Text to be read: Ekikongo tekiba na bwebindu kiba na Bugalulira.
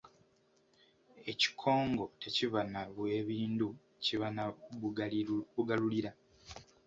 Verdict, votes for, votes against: accepted, 2, 0